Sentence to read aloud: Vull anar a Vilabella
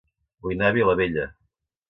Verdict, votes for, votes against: rejected, 1, 2